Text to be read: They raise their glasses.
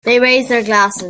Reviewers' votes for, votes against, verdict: 0, 3, rejected